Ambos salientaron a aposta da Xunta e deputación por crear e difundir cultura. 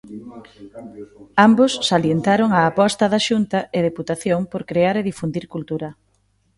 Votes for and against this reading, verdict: 0, 2, rejected